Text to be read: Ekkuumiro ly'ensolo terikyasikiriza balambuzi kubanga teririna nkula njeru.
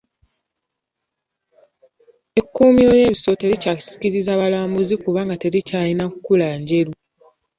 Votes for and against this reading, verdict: 1, 2, rejected